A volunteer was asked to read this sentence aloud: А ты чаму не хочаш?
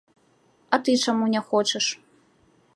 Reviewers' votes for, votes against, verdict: 2, 0, accepted